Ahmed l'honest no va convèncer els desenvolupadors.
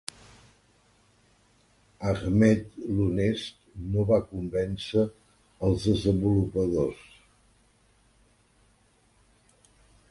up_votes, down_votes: 1, 2